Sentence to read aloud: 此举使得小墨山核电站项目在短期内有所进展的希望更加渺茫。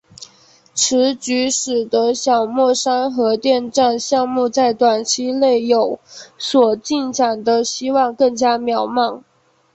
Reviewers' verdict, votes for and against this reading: accepted, 3, 0